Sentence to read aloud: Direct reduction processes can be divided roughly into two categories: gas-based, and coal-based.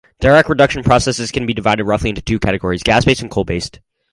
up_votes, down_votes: 4, 0